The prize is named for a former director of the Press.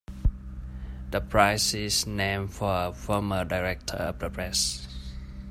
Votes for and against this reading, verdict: 2, 0, accepted